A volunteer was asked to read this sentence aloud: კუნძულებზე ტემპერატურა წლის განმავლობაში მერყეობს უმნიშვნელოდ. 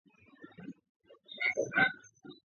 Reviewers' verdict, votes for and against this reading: rejected, 0, 2